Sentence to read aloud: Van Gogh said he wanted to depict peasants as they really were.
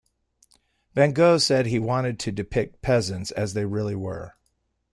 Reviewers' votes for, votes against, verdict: 2, 0, accepted